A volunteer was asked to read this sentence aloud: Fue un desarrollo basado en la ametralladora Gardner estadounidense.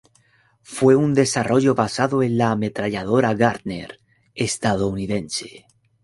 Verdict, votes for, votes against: accepted, 2, 0